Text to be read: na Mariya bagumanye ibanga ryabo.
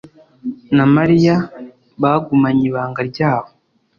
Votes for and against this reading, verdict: 2, 0, accepted